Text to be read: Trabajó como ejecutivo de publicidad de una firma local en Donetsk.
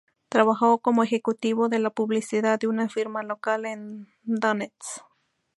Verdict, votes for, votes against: rejected, 0, 2